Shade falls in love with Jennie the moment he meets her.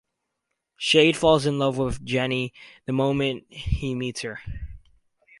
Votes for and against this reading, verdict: 2, 0, accepted